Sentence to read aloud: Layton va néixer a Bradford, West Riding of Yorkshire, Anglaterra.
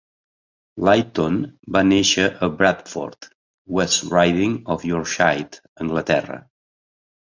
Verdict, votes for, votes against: accepted, 2, 0